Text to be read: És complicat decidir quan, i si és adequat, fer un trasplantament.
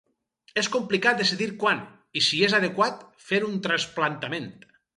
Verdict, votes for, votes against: accepted, 6, 0